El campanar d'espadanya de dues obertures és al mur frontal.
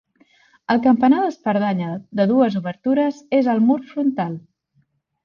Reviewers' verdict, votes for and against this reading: rejected, 0, 3